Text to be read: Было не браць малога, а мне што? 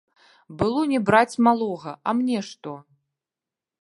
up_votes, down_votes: 0, 2